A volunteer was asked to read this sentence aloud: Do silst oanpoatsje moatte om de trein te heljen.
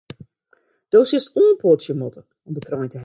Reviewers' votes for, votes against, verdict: 0, 2, rejected